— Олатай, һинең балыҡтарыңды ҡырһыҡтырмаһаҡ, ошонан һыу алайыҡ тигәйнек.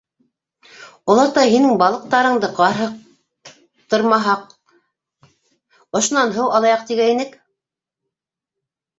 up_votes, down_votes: 0, 2